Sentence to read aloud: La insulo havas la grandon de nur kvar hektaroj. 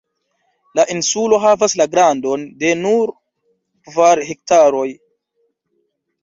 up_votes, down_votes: 2, 0